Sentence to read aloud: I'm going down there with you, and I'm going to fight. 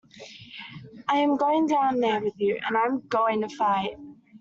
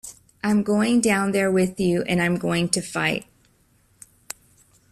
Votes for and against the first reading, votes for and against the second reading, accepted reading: 1, 2, 2, 0, second